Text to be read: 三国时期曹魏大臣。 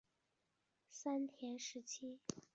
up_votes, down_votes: 1, 2